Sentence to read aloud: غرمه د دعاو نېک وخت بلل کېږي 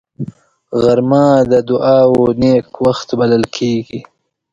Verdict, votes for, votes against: accepted, 2, 0